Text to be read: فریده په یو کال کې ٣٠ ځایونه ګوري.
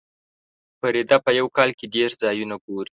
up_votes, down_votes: 0, 2